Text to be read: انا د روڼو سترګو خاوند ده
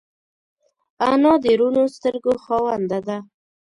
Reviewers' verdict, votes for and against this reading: accepted, 2, 0